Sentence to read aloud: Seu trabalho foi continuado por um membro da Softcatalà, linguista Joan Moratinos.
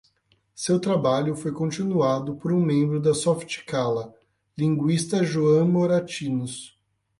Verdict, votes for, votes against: accepted, 8, 4